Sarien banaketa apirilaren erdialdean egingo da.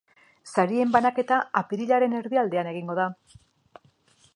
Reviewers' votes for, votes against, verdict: 2, 0, accepted